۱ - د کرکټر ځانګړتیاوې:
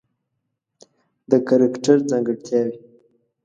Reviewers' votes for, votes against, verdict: 0, 2, rejected